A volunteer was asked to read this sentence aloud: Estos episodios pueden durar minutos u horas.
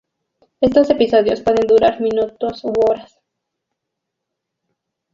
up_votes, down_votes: 2, 2